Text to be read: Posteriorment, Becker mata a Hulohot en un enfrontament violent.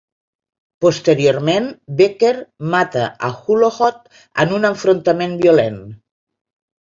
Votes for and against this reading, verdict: 2, 0, accepted